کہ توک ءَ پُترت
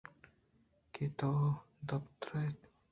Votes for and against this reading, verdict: 2, 0, accepted